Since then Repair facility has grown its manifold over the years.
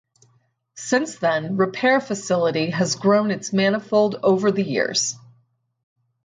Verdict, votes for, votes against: accepted, 4, 0